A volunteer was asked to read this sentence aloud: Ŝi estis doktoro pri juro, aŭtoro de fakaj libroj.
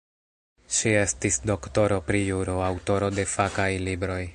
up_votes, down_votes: 0, 2